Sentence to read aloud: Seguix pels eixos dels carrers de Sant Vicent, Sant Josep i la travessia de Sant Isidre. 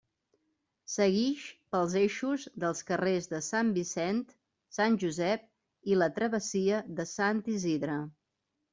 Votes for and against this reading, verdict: 3, 0, accepted